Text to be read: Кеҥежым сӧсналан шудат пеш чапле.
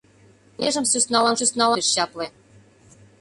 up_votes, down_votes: 0, 2